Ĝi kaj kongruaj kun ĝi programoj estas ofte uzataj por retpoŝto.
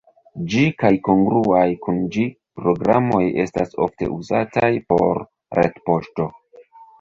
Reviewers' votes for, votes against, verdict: 0, 2, rejected